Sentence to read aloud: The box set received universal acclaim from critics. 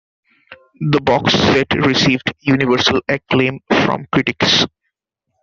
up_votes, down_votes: 2, 0